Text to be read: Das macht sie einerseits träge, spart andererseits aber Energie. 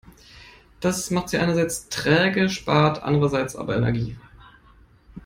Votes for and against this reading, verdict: 2, 0, accepted